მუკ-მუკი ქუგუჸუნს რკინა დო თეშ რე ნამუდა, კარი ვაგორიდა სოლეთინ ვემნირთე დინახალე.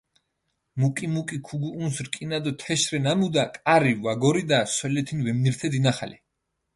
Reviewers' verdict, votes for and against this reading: accepted, 2, 0